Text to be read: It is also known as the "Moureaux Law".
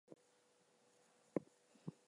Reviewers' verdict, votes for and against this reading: rejected, 0, 2